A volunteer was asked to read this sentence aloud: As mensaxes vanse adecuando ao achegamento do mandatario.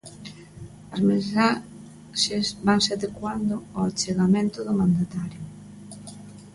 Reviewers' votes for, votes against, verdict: 0, 2, rejected